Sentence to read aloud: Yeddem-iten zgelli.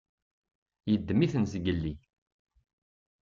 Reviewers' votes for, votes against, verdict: 2, 0, accepted